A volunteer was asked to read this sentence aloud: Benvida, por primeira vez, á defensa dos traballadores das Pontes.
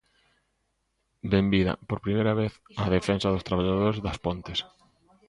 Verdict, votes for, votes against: accepted, 2, 0